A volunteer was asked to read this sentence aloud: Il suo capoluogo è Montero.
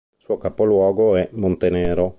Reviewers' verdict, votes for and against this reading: rejected, 0, 2